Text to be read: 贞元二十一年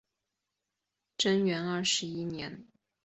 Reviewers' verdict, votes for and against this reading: accepted, 2, 1